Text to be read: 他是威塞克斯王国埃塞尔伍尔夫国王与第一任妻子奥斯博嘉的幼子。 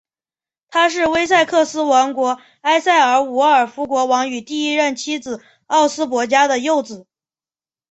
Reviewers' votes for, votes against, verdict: 4, 0, accepted